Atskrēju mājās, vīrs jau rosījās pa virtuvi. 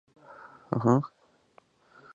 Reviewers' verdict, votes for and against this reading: rejected, 0, 2